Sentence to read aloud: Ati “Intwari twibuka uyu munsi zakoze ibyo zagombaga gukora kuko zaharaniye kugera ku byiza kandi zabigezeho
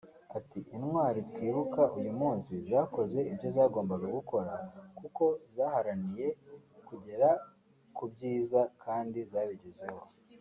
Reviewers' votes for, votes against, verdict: 2, 0, accepted